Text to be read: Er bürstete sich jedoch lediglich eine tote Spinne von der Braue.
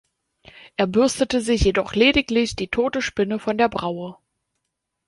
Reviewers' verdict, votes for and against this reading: rejected, 0, 2